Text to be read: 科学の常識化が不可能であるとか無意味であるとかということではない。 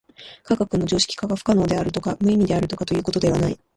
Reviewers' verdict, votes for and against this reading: rejected, 0, 2